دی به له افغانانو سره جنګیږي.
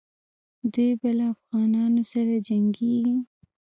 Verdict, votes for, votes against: accepted, 2, 0